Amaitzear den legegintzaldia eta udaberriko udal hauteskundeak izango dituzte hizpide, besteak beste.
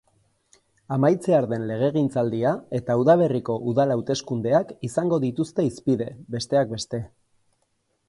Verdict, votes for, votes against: rejected, 2, 2